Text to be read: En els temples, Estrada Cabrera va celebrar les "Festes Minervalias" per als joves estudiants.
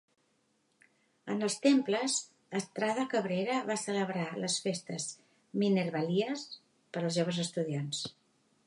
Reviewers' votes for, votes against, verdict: 2, 0, accepted